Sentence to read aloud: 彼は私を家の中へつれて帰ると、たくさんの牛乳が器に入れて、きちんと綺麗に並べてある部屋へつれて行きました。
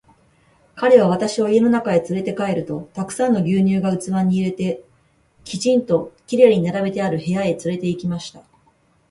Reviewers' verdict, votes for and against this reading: accepted, 4, 0